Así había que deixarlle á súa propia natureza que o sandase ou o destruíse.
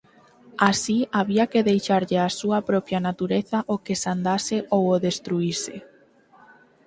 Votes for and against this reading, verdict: 4, 2, accepted